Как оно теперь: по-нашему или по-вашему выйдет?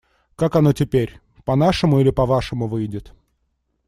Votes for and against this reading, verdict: 2, 0, accepted